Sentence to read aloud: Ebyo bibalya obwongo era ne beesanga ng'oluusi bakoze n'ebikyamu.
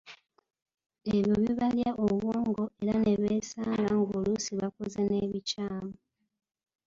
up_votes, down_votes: 2, 3